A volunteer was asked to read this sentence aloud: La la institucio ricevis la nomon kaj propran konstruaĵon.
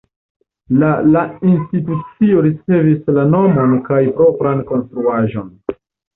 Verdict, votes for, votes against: rejected, 1, 2